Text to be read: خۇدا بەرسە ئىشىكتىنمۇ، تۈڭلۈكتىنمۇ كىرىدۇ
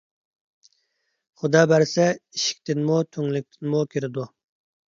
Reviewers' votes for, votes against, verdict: 2, 0, accepted